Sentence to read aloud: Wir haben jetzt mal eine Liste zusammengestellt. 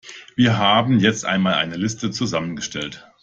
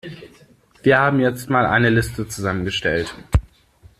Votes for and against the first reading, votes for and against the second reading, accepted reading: 1, 2, 2, 0, second